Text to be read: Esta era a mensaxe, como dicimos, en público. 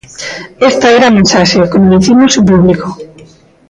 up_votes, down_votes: 1, 2